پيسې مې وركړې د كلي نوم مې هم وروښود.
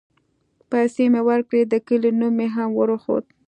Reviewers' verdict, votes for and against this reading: accepted, 2, 0